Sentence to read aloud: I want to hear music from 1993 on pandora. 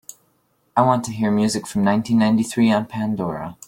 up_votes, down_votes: 0, 2